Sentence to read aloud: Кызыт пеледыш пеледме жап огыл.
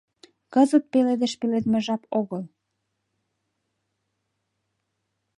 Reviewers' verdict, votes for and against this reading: accepted, 2, 0